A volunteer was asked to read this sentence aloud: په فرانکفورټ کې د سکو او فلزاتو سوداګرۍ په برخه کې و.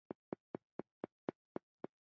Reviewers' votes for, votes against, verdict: 0, 2, rejected